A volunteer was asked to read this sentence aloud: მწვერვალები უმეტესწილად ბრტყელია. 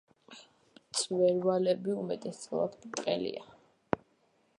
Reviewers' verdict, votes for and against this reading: accepted, 2, 0